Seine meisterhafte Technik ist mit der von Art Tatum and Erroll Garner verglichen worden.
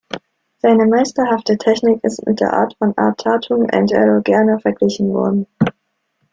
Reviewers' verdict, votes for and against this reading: rejected, 1, 2